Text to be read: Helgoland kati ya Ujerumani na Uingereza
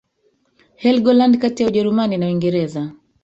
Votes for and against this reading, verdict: 1, 2, rejected